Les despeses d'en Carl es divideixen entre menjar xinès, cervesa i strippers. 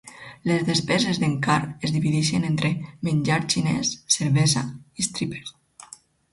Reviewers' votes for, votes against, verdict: 4, 0, accepted